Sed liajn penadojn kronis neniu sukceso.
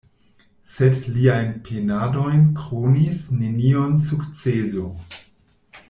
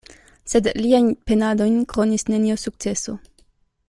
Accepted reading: second